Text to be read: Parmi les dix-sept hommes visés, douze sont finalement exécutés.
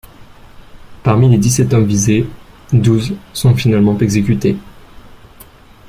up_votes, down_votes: 2, 0